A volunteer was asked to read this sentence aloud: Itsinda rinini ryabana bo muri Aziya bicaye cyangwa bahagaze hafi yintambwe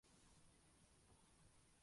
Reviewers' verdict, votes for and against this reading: rejected, 0, 2